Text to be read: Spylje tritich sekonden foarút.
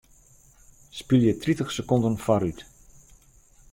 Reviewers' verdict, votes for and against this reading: accepted, 2, 0